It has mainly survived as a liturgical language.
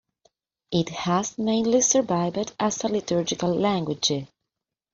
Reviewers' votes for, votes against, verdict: 0, 2, rejected